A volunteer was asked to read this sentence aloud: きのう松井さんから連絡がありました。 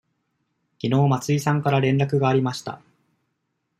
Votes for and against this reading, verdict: 2, 0, accepted